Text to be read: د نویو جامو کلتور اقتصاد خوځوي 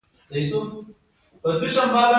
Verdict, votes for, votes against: accepted, 3, 1